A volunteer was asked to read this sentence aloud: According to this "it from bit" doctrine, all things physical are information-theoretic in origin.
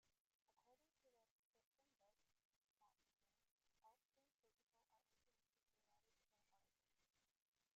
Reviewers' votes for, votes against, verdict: 1, 4, rejected